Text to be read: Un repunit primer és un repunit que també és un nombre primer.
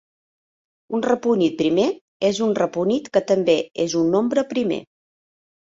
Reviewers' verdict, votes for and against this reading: accepted, 3, 0